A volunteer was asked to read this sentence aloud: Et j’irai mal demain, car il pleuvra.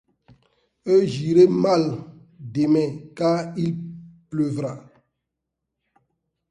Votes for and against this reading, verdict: 2, 0, accepted